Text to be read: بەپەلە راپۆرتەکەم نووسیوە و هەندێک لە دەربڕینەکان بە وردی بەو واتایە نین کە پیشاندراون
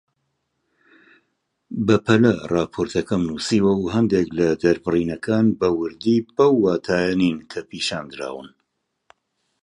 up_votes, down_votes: 2, 0